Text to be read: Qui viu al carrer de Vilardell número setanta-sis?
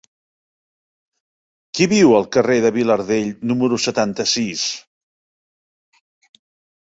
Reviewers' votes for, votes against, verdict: 9, 0, accepted